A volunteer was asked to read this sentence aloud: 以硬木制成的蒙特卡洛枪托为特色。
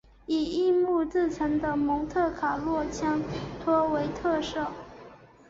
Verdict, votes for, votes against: accepted, 2, 0